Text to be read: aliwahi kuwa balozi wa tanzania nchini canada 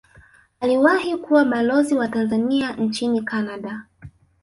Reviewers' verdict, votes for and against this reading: accepted, 3, 0